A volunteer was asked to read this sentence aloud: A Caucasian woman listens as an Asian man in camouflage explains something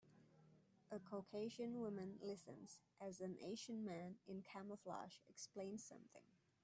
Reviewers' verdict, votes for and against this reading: accepted, 2, 0